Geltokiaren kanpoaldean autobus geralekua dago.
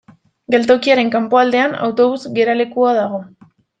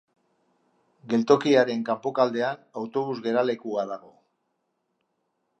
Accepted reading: first